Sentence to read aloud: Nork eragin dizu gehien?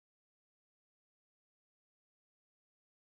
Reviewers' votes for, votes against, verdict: 0, 2, rejected